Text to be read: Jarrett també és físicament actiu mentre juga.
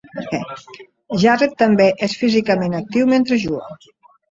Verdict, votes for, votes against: rejected, 1, 2